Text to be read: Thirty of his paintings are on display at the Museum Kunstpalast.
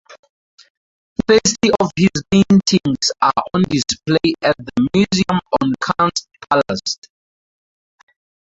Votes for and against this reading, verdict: 2, 2, rejected